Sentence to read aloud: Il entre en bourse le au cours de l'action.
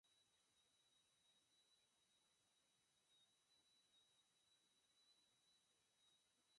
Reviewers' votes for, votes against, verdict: 0, 4, rejected